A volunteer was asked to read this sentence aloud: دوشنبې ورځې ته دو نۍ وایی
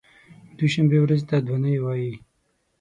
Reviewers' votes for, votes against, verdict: 6, 0, accepted